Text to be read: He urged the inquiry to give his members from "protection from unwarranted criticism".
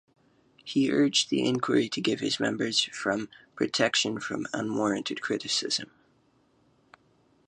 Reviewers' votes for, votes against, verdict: 2, 2, rejected